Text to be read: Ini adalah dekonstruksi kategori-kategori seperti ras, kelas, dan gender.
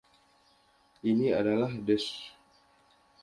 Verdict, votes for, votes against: rejected, 0, 2